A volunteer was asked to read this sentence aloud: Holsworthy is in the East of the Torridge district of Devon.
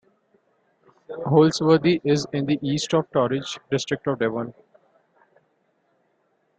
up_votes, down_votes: 0, 2